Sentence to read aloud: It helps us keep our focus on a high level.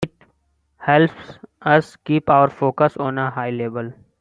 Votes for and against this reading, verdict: 2, 1, accepted